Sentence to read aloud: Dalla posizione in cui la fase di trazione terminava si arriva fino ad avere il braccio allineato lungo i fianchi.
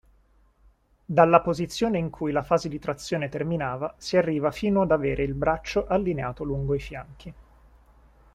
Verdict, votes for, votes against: accepted, 2, 0